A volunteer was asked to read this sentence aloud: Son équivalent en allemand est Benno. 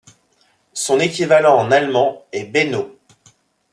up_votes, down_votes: 2, 0